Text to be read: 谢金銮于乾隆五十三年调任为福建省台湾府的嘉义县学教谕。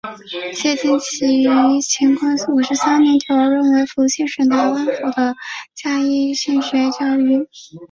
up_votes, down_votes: 0, 2